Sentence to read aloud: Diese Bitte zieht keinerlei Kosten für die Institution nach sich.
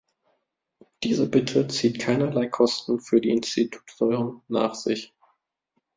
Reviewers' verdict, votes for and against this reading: rejected, 0, 2